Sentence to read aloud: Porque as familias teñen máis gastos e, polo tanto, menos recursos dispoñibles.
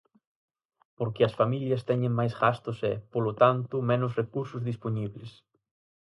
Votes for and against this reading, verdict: 4, 0, accepted